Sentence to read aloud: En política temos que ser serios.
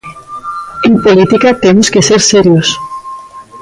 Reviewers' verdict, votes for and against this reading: accepted, 2, 1